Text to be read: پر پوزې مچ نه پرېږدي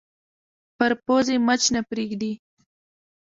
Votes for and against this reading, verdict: 0, 2, rejected